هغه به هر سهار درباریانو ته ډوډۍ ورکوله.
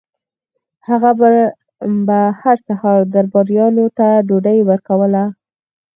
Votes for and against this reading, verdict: 2, 4, rejected